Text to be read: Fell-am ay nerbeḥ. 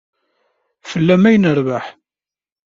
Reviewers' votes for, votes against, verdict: 2, 0, accepted